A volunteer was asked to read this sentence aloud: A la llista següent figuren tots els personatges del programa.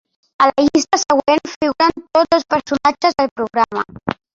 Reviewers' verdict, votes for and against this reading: rejected, 1, 2